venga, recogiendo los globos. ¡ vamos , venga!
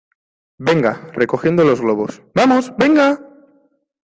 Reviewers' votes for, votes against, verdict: 2, 0, accepted